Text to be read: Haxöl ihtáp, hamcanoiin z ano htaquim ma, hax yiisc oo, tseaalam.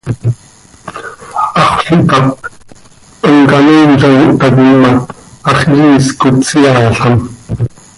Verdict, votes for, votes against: accepted, 2, 0